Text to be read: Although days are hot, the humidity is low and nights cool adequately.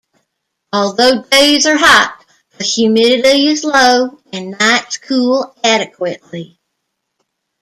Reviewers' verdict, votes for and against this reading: rejected, 0, 2